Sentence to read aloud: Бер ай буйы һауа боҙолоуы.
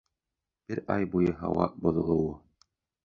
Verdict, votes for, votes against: accepted, 2, 1